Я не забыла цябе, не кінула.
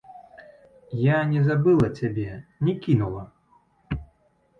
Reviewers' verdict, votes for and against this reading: accepted, 2, 0